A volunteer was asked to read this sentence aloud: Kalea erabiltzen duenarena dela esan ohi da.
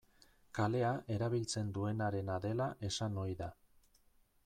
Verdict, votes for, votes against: accepted, 2, 1